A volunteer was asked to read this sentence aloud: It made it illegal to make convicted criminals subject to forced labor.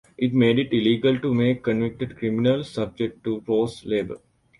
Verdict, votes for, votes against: accepted, 2, 0